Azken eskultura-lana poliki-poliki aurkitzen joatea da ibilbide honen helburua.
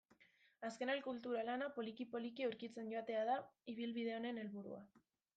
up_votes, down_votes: 0, 2